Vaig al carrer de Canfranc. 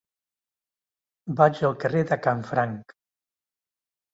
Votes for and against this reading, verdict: 3, 0, accepted